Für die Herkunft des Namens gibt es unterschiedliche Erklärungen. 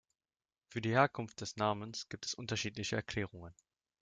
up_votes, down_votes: 2, 0